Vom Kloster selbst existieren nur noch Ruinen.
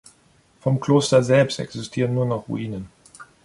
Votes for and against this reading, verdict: 3, 0, accepted